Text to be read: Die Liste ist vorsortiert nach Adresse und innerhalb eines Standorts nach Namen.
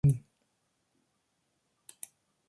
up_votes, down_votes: 0, 2